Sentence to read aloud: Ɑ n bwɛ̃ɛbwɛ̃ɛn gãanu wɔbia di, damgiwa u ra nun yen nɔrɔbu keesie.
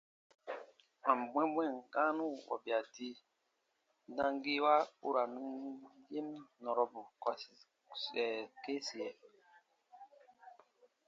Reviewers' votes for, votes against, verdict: 1, 2, rejected